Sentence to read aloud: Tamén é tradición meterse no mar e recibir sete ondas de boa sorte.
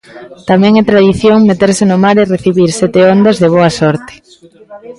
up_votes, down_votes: 2, 0